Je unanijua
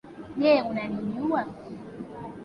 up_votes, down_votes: 1, 2